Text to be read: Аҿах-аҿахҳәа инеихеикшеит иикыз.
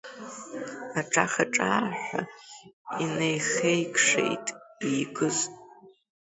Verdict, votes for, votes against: rejected, 0, 2